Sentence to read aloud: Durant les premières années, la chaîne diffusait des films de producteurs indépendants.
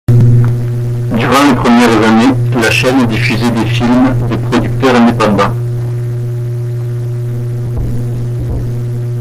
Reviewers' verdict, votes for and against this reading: accepted, 2, 1